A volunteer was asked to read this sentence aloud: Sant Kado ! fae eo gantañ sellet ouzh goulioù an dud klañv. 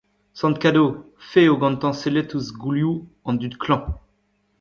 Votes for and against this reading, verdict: 1, 2, rejected